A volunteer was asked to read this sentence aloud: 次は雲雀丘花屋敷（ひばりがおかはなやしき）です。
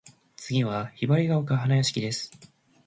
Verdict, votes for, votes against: rejected, 0, 2